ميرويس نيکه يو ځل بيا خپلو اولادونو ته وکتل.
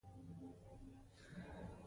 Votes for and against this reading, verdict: 0, 2, rejected